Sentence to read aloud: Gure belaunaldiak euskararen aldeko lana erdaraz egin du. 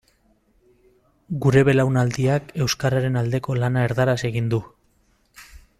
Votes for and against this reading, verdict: 2, 0, accepted